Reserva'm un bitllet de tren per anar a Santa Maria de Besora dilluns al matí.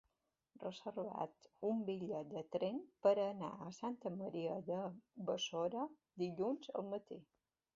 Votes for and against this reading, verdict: 1, 2, rejected